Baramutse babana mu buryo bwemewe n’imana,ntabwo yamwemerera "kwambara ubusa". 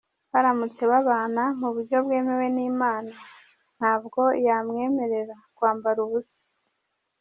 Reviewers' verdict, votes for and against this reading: rejected, 1, 3